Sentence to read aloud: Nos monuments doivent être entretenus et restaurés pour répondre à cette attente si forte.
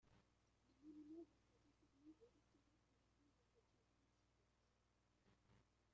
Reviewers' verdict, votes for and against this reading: rejected, 0, 2